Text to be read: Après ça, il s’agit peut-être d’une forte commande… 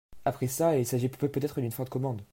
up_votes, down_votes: 0, 2